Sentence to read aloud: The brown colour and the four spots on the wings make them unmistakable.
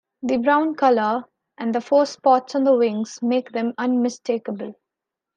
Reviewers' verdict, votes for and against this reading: accepted, 2, 0